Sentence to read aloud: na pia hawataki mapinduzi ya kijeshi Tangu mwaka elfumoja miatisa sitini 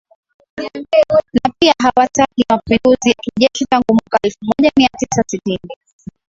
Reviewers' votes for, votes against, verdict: 11, 6, accepted